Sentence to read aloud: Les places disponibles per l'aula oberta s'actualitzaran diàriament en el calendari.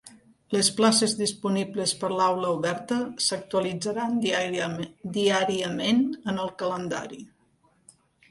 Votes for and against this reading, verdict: 0, 2, rejected